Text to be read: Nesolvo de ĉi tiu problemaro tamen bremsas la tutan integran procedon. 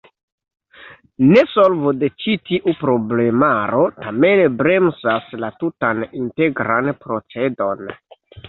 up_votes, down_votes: 1, 2